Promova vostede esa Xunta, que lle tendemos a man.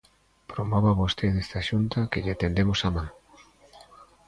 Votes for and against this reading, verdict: 0, 2, rejected